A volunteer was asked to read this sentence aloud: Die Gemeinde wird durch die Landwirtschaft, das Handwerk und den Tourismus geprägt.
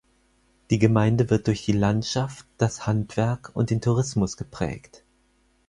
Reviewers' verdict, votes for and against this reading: rejected, 2, 4